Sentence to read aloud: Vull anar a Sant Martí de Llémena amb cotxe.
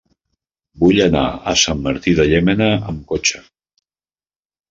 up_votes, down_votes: 1, 2